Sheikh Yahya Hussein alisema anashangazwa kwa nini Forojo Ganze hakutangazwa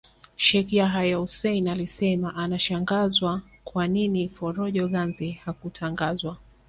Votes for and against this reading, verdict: 1, 2, rejected